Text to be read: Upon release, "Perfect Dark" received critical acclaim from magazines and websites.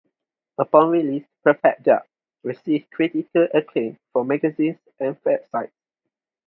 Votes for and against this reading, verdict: 2, 2, rejected